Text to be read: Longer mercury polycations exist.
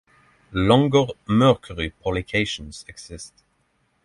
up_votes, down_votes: 6, 0